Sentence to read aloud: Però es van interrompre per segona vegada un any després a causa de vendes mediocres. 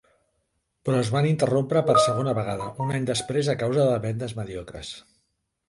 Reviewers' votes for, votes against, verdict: 4, 0, accepted